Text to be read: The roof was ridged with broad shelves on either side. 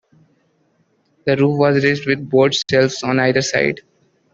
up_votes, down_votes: 1, 2